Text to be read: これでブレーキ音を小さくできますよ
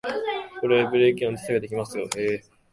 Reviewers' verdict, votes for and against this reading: rejected, 1, 2